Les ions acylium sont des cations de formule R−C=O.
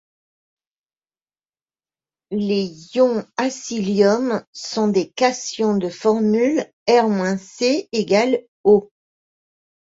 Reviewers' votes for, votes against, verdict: 1, 2, rejected